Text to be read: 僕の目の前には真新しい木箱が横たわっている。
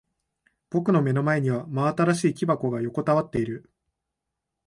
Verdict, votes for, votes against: accepted, 2, 0